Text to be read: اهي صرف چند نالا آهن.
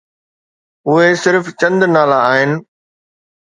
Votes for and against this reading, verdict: 2, 0, accepted